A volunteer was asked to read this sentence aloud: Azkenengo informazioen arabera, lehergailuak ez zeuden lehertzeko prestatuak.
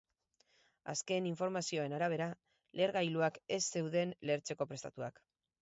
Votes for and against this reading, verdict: 4, 2, accepted